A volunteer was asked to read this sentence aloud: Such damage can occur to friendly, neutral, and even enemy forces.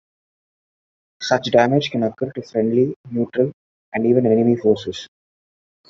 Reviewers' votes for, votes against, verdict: 2, 1, accepted